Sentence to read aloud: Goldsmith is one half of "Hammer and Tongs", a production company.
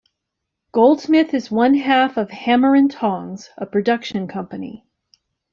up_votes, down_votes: 2, 0